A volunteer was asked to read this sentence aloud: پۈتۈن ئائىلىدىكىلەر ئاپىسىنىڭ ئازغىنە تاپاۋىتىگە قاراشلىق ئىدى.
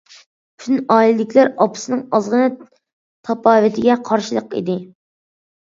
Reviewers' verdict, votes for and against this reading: rejected, 0, 2